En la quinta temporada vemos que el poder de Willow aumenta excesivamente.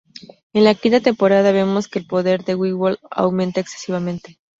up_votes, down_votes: 0, 2